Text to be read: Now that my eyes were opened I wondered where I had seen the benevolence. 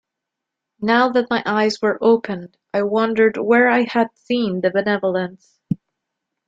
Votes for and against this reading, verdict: 2, 0, accepted